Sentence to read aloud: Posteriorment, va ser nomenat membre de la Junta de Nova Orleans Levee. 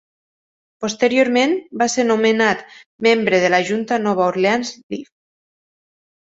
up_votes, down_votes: 0, 4